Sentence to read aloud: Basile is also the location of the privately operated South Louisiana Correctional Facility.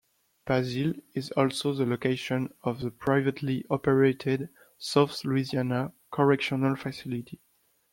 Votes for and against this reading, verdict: 2, 0, accepted